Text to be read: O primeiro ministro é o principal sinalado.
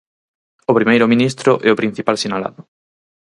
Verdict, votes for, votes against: accepted, 4, 0